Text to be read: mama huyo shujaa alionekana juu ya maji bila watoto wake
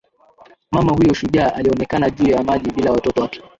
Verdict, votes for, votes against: accepted, 2, 0